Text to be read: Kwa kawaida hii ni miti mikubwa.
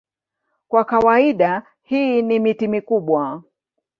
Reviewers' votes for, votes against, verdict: 4, 0, accepted